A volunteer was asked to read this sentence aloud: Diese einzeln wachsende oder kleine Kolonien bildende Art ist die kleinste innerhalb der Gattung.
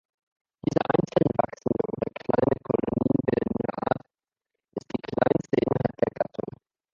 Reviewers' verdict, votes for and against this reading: rejected, 1, 2